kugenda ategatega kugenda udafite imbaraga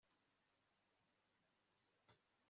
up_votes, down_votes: 1, 2